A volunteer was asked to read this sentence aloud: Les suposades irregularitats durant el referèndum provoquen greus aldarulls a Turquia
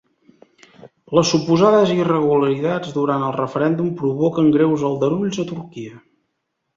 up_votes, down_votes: 2, 0